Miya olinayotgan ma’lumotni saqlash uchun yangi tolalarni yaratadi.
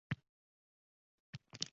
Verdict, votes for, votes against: rejected, 0, 2